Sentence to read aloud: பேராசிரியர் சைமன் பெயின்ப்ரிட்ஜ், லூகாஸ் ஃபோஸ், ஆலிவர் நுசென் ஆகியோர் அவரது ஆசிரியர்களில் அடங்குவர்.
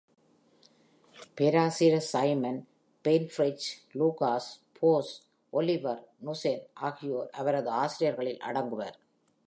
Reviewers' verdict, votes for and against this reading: rejected, 1, 2